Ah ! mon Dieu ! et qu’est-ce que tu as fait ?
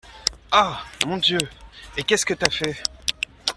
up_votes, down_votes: 0, 2